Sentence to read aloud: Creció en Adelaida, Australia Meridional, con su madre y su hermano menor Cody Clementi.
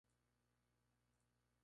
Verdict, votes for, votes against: rejected, 0, 2